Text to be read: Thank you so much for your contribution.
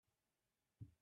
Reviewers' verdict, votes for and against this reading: rejected, 0, 2